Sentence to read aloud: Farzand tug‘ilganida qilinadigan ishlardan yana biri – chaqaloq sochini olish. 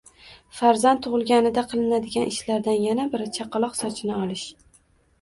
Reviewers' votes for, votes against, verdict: 1, 2, rejected